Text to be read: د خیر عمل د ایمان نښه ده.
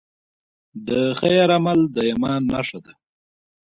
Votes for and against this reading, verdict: 2, 0, accepted